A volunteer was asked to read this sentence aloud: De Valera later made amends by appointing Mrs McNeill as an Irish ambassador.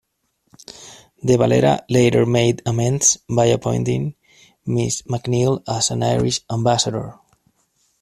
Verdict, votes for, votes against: accepted, 2, 1